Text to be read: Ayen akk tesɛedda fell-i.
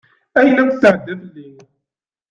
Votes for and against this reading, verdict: 1, 2, rejected